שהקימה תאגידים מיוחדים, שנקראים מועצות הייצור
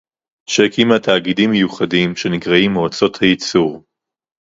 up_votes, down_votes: 0, 2